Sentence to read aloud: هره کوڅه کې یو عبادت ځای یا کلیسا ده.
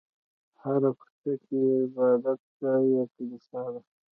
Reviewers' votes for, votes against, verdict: 1, 2, rejected